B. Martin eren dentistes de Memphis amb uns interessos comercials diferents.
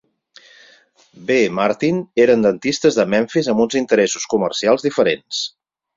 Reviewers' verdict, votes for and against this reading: accepted, 4, 0